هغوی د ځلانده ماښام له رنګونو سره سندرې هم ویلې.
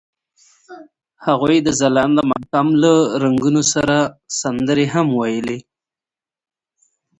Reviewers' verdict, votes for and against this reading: accepted, 2, 0